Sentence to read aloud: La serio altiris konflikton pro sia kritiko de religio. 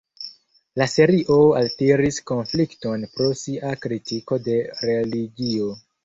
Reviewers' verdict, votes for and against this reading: rejected, 0, 2